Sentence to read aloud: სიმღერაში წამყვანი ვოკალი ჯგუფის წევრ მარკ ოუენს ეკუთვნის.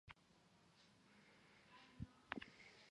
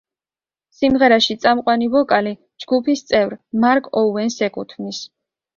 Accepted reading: second